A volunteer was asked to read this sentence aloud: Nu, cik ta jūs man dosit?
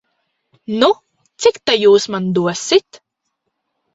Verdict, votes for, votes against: accepted, 2, 0